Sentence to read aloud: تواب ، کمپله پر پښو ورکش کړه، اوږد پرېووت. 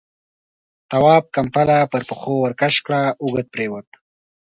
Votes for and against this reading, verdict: 2, 0, accepted